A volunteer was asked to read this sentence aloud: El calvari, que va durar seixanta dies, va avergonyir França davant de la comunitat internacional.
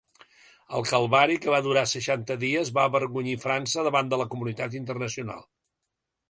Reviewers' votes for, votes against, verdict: 2, 0, accepted